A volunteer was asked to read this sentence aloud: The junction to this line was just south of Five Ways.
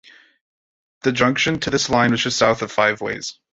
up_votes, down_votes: 3, 0